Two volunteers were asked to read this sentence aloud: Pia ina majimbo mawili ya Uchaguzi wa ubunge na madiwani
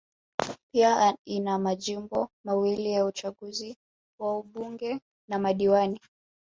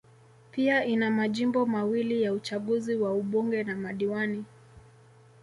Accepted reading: second